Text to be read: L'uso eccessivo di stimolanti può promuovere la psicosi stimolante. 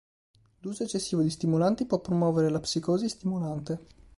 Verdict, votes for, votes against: accepted, 2, 0